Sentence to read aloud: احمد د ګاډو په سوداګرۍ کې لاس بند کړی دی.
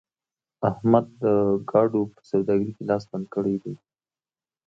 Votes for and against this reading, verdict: 1, 2, rejected